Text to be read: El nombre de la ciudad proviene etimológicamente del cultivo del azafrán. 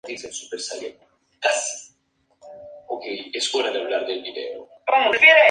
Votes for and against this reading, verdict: 0, 2, rejected